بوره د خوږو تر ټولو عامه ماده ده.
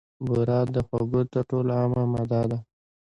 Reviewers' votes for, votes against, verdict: 2, 0, accepted